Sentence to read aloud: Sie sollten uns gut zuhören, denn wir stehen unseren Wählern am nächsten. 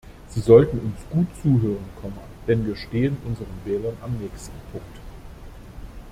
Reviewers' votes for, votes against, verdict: 0, 2, rejected